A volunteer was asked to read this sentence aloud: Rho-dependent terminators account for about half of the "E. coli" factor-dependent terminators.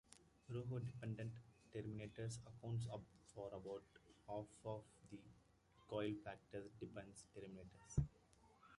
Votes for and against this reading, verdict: 1, 2, rejected